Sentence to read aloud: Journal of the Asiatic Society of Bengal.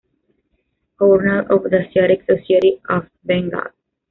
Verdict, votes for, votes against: rejected, 0, 2